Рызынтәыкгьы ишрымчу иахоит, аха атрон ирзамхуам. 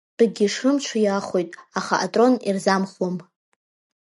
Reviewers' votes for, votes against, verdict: 0, 2, rejected